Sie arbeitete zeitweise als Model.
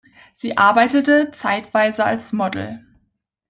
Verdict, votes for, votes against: accepted, 2, 0